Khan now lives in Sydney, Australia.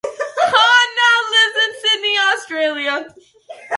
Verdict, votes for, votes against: rejected, 0, 2